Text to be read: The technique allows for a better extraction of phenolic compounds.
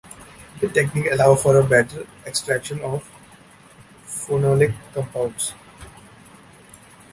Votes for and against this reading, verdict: 2, 0, accepted